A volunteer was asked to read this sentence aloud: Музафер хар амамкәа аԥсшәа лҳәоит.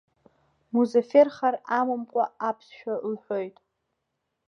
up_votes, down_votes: 2, 1